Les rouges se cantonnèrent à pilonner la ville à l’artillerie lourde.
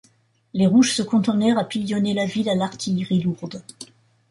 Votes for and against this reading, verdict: 1, 2, rejected